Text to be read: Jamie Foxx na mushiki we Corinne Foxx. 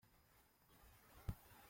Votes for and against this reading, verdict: 0, 2, rejected